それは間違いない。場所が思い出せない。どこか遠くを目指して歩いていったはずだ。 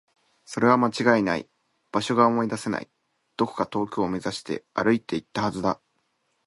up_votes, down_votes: 2, 0